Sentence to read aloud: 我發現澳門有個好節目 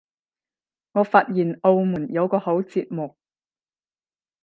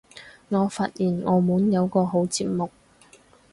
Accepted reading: second